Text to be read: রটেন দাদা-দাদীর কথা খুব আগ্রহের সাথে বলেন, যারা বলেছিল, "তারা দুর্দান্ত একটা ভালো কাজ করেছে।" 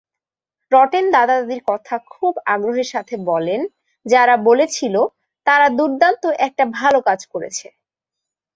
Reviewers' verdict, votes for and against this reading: accepted, 2, 0